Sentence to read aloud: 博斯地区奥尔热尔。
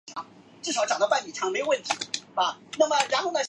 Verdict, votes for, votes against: rejected, 0, 2